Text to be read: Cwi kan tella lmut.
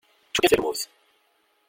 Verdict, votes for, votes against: rejected, 0, 2